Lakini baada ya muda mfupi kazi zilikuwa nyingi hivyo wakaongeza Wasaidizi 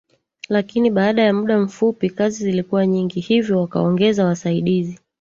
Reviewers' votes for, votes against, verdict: 1, 2, rejected